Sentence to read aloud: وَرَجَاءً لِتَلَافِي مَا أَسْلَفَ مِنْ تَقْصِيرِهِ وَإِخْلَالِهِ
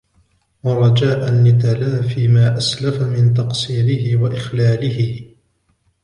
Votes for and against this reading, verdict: 1, 2, rejected